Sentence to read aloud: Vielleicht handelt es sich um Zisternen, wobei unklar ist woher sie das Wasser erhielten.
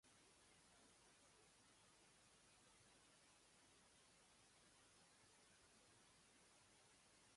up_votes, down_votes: 0, 2